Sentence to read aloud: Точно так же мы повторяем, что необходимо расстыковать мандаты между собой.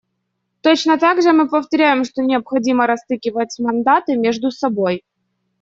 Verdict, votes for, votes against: rejected, 0, 2